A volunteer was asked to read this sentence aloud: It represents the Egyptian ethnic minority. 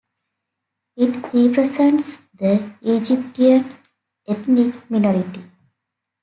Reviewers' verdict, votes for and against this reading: rejected, 1, 2